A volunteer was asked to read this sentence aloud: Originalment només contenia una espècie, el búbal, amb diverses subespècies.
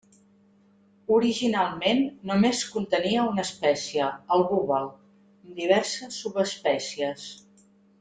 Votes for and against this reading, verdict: 0, 2, rejected